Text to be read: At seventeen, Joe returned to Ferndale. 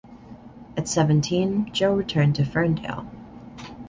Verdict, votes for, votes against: accepted, 2, 0